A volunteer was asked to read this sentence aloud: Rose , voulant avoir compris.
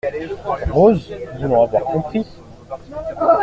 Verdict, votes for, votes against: rejected, 1, 2